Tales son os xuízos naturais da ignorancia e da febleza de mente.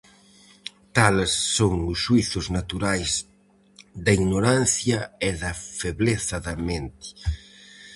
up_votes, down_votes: 0, 4